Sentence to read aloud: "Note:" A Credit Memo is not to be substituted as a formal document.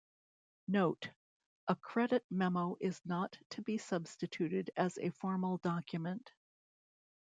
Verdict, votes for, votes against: accepted, 2, 0